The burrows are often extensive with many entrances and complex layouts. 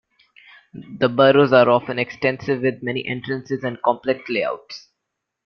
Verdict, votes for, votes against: accepted, 2, 0